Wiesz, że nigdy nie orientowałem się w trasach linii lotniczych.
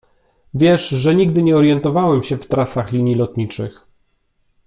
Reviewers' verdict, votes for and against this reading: accepted, 2, 0